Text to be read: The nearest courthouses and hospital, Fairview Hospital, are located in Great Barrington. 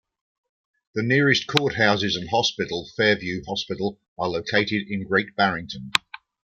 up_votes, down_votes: 2, 0